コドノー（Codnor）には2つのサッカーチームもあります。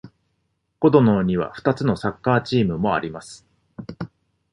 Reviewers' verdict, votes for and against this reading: rejected, 0, 2